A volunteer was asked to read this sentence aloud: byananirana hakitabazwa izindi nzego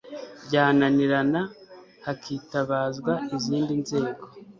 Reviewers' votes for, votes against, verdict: 2, 0, accepted